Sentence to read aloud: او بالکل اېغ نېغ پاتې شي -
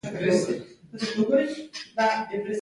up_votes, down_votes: 0, 2